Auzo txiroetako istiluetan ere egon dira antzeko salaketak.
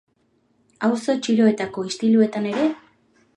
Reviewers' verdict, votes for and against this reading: rejected, 1, 2